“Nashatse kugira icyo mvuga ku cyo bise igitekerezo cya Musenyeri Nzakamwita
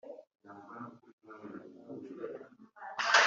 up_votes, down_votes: 1, 3